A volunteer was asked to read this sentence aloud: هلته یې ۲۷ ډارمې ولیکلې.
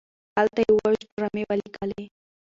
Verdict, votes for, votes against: rejected, 0, 2